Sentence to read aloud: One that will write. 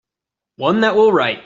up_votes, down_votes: 2, 0